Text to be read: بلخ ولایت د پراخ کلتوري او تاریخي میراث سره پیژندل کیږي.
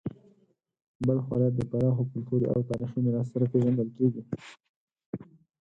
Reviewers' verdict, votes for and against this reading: rejected, 0, 4